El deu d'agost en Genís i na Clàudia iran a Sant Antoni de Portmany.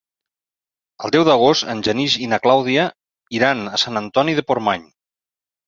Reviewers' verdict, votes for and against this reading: rejected, 1, 2